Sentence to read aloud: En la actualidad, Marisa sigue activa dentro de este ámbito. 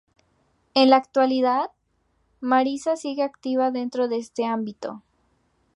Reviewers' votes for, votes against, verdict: 4, 0, accepted